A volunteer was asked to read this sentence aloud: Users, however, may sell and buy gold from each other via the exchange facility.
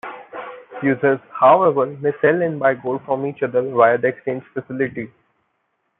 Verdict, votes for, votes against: rejected, 1, 2